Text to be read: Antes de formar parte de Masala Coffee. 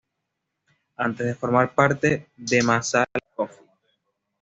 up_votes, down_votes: 1, 2